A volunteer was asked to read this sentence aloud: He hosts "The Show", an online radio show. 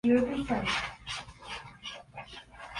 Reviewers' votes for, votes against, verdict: 0, 2, rejected